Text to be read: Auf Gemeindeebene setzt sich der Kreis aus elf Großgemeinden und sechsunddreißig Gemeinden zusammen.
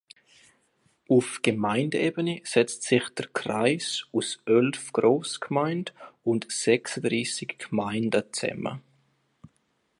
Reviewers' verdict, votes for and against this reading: accepted, 2, 0